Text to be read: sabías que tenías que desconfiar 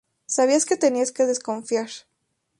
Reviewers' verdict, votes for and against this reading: accepted, 2, 0